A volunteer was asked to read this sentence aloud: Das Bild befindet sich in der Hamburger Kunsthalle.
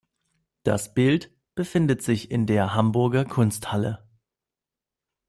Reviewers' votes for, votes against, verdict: 2, 0, accepted